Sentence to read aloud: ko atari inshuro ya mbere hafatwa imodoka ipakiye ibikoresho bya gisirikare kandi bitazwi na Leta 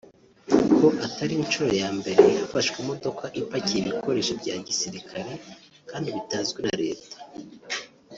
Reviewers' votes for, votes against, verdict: 0, 2, rejected